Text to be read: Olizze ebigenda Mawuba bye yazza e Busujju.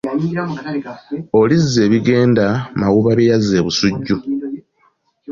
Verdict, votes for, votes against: accepted, 2, 1